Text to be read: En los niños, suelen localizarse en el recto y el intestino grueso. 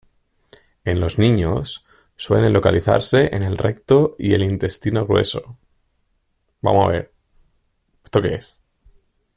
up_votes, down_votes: 1, 2